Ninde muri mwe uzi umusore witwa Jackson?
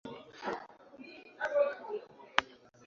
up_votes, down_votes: 0, 2